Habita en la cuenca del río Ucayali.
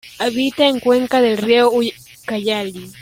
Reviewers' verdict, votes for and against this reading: rejected, 0, 2